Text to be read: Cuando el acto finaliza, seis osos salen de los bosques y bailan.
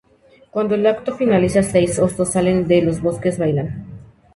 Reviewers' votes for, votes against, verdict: 0, 2, rejected